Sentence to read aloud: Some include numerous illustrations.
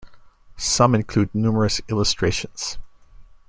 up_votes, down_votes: 2, 0